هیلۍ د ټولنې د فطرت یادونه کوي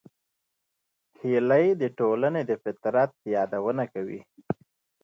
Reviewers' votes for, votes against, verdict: 0, 2, rejected